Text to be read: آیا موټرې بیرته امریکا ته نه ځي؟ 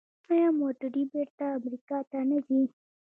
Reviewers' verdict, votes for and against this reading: accepted, 2, 1